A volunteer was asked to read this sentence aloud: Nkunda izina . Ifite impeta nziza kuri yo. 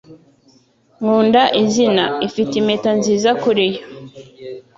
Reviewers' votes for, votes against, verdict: 2, 0, accepted